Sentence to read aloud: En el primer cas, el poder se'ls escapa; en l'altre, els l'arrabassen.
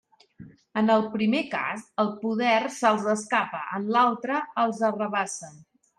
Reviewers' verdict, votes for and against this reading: rejected, 1, 2